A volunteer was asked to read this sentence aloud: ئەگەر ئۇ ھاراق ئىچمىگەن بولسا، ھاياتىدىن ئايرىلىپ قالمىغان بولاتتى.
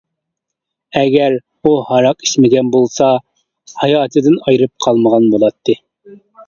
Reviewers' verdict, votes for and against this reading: rejected, 1, 2